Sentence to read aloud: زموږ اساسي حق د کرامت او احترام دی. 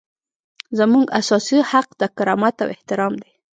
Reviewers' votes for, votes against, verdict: 0, 2, rejected